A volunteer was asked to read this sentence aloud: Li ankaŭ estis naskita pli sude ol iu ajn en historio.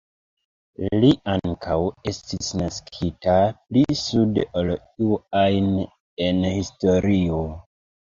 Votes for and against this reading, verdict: 2, 1, accepted